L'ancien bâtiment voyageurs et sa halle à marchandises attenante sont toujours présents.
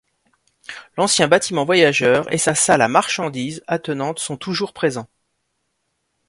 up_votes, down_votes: 0, 2